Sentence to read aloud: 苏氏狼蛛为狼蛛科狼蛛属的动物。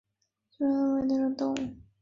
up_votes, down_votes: 2, 5